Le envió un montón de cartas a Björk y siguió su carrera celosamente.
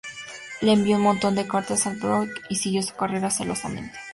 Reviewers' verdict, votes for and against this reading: accepted, 2, 0